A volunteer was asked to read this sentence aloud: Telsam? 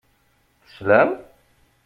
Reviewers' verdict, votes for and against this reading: rejected, 0, 2